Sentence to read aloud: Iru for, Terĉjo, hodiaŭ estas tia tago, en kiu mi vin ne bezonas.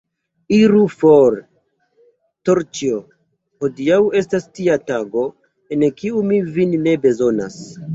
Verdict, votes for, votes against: accepted, 2, 1